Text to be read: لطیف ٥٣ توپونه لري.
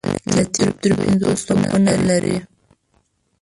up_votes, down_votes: 0, 2